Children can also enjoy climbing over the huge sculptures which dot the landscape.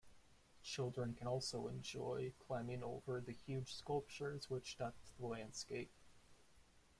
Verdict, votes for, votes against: rejected, 0, 2